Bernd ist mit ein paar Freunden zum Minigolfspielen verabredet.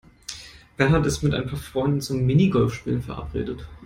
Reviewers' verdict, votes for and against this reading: accepted, 2, 0